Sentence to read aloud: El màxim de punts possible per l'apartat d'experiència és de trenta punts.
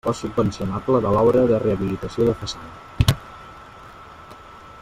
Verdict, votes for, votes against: rejected, 0, 2